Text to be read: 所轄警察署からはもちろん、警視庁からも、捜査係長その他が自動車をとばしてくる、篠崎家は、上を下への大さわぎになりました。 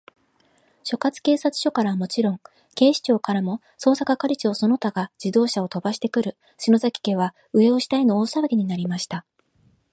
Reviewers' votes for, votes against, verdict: 2, 1, accepted